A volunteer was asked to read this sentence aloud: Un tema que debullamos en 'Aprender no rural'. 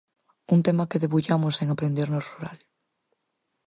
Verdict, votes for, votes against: accepted, 4, 0